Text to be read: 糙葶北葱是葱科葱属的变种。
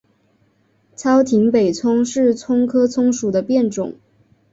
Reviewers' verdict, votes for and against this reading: accepted, 2, 1